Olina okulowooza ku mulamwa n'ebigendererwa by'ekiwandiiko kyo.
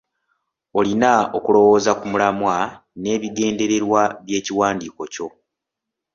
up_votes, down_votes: 2, 0